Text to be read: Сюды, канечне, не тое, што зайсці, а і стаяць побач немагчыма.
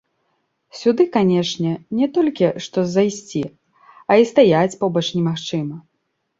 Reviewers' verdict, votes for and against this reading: rejected, 0, 2